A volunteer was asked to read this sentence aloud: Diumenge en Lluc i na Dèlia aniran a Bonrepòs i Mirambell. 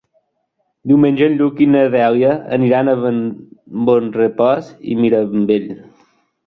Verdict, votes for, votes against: rejected, 0, 2